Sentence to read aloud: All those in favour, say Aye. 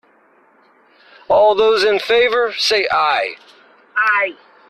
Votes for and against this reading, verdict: 1, 2, rejected